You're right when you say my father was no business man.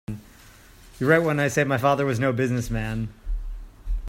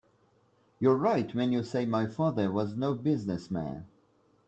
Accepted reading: second